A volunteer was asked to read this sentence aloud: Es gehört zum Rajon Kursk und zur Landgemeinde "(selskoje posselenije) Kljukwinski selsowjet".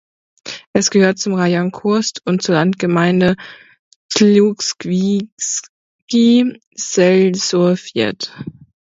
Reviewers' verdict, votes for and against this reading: rejected, 0, 2